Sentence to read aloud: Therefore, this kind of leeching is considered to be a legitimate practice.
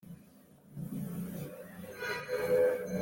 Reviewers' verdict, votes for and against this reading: rejected, 0, 2